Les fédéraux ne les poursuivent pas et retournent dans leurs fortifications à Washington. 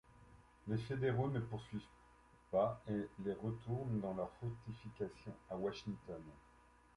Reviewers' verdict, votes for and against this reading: rejected, 0, 2